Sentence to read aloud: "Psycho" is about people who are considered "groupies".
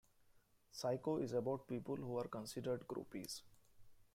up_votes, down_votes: 2, 1